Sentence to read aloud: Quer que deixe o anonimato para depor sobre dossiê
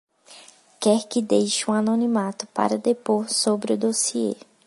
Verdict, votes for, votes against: rejected, 1, 2